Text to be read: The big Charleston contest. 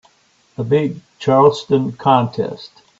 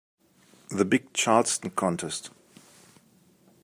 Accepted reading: first